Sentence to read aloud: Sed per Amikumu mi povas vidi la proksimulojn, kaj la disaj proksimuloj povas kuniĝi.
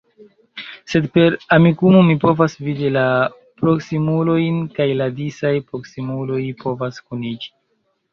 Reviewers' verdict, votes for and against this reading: accepted, 2, 0